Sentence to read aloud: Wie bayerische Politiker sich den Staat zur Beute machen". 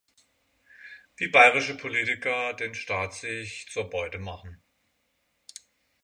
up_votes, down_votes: 0, 6